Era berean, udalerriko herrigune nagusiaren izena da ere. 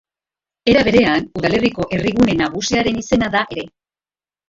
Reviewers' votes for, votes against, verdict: 0, 2, rejected